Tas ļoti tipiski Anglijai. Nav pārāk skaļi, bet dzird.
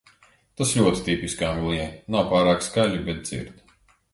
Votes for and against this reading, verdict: 2, 0, accepted